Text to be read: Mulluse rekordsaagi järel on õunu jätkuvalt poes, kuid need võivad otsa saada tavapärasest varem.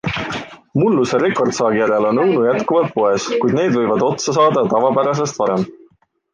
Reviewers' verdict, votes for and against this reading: accepted, 2, 0